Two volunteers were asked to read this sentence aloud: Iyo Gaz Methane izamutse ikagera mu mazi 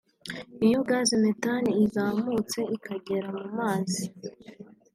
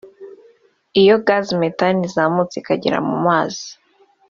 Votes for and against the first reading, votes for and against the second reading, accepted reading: 2, 0, 1, 2, first